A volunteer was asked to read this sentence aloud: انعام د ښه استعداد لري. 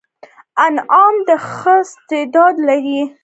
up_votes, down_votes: 2, 0